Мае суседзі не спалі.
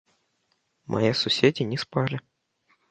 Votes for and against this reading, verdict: 2, 1, accepted